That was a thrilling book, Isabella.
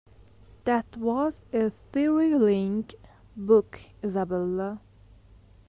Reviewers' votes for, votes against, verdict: 1, 2, rejected